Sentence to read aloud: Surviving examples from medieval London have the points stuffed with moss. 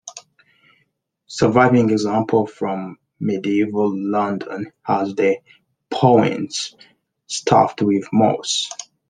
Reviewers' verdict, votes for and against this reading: rejected, 0, 2